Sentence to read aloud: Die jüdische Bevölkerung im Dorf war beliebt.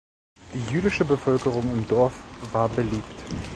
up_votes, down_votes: 2, 0